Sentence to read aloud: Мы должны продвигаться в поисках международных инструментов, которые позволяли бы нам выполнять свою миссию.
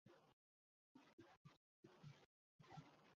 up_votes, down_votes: 0, 2